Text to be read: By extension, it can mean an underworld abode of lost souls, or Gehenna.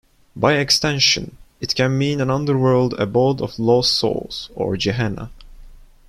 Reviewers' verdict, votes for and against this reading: rejected, 0, 2